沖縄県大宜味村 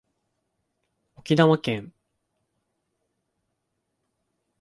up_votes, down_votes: 0, 2